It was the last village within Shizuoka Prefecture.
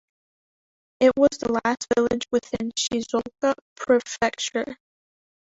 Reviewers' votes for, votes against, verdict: 1, 2, rejected